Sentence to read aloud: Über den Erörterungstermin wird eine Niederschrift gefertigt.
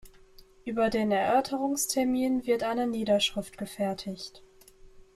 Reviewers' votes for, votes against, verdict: 2, 0, accepted